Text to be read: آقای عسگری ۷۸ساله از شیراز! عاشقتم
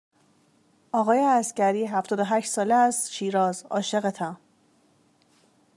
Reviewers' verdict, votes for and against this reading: rejected, 0, 2